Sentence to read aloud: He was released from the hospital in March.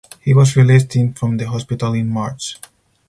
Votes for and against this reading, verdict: 0, 2, rejected